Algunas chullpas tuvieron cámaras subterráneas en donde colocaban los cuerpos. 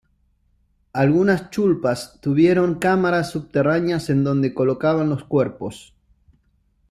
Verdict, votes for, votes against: accepted, 2, 0